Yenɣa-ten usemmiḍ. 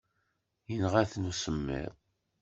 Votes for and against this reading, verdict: 2, 0, accepted